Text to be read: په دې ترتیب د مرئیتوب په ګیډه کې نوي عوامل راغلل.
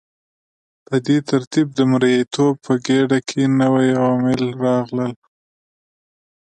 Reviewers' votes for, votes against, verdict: 2, 0, accepted